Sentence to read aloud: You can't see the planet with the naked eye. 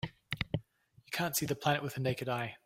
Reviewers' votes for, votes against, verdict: 2, 0, accepted